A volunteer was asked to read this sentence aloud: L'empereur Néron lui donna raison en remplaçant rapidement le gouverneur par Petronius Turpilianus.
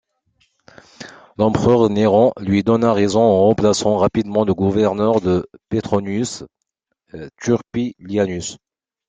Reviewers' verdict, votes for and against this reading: rejected, 1, 2